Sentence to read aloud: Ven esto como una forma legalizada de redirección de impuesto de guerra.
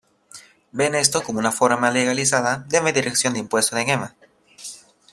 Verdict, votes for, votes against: rejected, 1, 2